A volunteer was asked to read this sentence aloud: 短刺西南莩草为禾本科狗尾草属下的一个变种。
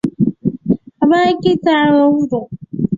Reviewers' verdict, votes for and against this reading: rejected, 0, 5